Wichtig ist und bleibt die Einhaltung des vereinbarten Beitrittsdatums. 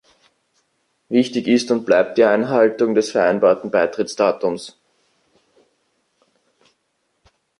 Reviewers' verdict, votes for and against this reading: rejected, 1, 2